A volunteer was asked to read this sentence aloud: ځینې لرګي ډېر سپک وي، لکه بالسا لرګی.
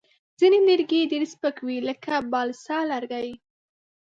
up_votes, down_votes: 2, 0